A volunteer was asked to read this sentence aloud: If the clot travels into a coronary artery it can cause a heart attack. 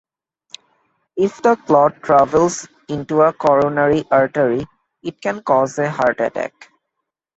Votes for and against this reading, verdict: 2, 0, accepted